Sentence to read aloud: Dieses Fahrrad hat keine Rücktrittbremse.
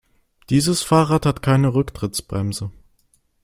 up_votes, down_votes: 0, 2